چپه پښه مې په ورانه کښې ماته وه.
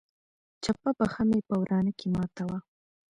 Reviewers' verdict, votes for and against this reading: accepted, 2, 1